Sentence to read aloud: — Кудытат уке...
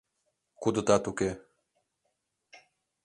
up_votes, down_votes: 2, 0